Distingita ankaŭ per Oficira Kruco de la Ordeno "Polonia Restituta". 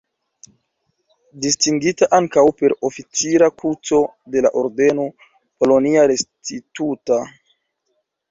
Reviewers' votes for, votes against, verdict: 1, 2, rejected